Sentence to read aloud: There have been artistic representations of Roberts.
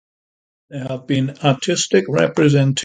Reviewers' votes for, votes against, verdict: 0, 2, rejected